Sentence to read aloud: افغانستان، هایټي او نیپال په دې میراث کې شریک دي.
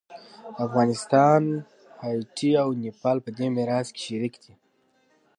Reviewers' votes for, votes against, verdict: 2, 1, accepted